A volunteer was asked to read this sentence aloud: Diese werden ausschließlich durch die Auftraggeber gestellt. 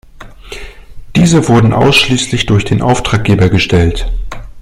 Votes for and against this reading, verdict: 0, 2, rejected